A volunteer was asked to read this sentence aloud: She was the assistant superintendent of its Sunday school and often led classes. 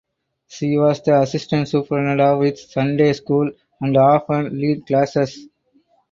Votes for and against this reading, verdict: 0, 4, rejected